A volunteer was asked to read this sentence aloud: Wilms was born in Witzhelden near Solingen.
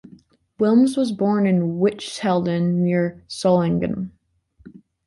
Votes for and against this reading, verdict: 2, 0, accepted